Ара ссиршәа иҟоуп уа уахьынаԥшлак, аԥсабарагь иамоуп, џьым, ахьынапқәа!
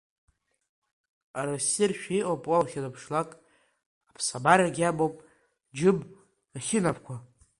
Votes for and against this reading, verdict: 2, 0, accepted